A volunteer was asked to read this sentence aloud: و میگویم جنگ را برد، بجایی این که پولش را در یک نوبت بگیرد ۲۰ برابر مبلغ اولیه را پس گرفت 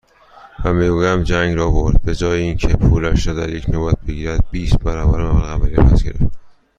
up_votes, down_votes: 0, 2